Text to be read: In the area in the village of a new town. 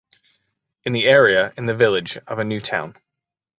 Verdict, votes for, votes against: accepted, 2, 0